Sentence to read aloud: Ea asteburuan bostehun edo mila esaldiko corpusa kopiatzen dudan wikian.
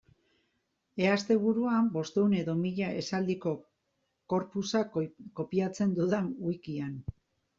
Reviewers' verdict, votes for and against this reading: rejected, 0, 2